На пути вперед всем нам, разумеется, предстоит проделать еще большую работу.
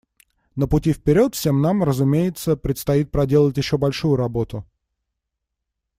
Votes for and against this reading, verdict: 2, 0, accepted